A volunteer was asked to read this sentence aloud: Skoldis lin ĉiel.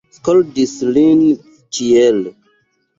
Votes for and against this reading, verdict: 2, 1, accepted